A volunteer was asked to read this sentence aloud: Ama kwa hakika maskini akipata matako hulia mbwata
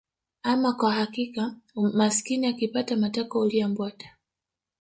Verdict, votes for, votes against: rejected, 1, 2